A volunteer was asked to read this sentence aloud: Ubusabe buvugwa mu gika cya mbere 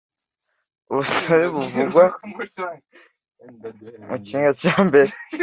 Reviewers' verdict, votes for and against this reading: rejected, 0, 2